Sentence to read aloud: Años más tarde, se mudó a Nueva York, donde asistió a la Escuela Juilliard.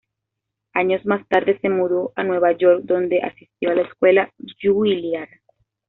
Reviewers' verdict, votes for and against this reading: accepted, 2, 0